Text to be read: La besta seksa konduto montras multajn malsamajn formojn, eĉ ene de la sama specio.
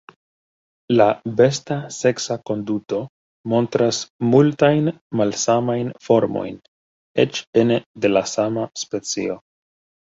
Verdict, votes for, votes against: accepted, 2, 1